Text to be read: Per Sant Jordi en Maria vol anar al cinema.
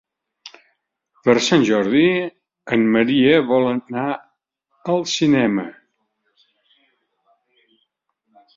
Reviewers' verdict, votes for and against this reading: accepted, 3, 0